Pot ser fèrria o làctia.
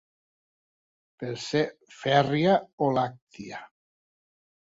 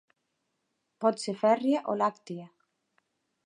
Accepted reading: second